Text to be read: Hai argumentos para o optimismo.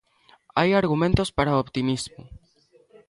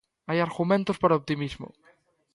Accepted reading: second